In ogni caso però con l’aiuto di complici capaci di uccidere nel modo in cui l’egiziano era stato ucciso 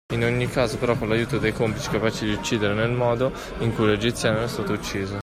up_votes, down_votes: 2, 1